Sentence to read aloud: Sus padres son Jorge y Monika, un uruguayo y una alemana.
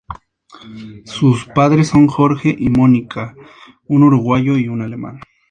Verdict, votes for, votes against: accepted, 2, 0